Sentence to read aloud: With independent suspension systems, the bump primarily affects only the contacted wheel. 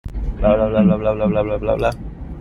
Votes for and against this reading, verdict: 0, 2, rejected